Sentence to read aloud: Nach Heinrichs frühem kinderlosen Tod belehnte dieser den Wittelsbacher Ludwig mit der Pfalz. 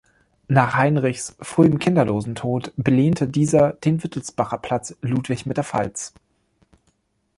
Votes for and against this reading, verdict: 1, 2, rejected